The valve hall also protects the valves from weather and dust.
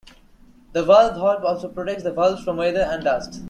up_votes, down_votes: 2, 0